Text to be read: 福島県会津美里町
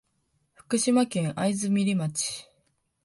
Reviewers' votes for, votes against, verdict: 2, 3, rejected